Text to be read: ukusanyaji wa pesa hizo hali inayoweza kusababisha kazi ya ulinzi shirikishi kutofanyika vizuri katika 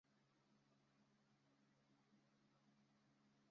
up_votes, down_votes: 0, 2